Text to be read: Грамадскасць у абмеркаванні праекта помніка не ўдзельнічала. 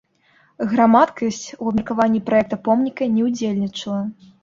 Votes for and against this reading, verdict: 0, 2, rejected